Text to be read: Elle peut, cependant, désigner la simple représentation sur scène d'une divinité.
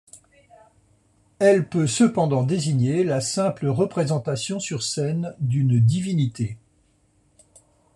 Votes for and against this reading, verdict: 2, 0, accepted